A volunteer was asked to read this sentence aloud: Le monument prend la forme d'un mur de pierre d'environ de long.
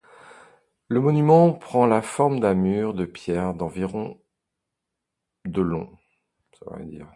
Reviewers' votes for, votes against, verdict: 0, 2, rejected